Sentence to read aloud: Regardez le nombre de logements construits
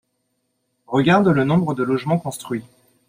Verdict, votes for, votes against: rejected, 0, 7